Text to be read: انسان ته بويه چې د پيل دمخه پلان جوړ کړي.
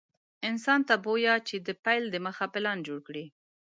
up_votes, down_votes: 2, 0